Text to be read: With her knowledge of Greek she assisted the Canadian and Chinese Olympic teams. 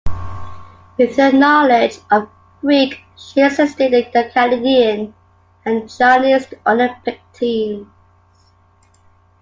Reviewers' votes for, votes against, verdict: 0, 2, rejected